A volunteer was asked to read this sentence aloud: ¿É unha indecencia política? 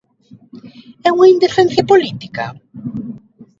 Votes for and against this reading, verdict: 1, 2, rejected